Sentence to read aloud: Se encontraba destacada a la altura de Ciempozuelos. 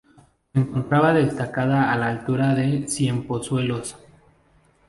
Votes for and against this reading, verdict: 2, 2, rejected